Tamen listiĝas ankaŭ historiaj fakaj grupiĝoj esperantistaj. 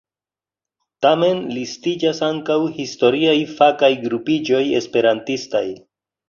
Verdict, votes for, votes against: accepted, 2, 0